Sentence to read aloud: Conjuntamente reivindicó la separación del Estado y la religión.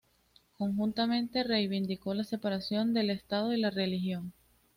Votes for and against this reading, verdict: 2, 0, accepted